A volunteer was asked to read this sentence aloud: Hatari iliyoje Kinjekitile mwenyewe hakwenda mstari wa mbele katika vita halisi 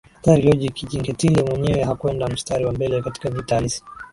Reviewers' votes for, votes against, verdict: 2, 0, accepted